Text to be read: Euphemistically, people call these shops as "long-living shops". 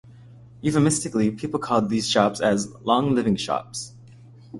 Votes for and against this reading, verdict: 2, 0, accepted